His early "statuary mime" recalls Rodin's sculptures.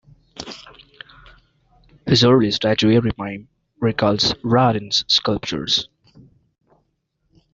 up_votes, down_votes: 0, 2